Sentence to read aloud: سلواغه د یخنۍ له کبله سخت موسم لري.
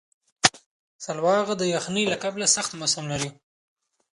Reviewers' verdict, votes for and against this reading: rejected, 0, 2